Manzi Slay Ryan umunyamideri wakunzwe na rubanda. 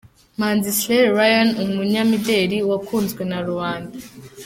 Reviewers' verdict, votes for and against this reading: accepted, 2, 1